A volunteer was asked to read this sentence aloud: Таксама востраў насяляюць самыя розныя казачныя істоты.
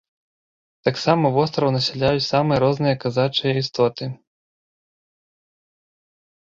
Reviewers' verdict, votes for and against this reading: rejected, 0, 2